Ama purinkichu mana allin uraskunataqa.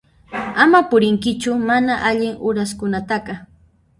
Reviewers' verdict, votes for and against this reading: rejected, 0, 2